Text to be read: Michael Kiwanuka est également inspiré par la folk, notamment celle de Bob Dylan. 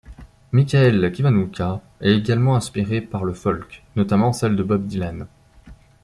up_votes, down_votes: 0, 2